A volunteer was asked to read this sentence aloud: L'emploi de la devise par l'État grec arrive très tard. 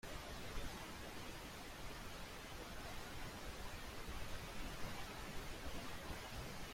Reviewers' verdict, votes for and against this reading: rejected, 0, 2